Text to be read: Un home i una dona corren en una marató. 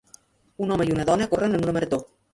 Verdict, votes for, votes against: rejected, 1, 2